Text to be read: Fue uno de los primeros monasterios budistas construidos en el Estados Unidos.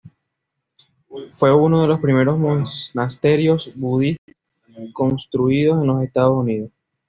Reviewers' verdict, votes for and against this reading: rejected, 1, 2